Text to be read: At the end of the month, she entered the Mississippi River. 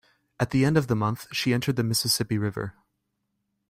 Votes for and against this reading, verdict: 2, 0, accepted